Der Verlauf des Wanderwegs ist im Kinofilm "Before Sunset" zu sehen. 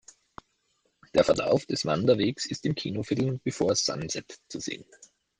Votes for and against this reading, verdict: 2, 0, accepted